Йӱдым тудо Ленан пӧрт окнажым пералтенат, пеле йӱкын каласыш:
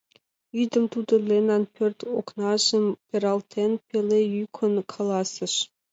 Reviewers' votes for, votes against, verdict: 1, 2, rejected